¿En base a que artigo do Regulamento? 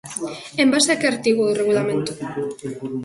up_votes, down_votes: 2, 0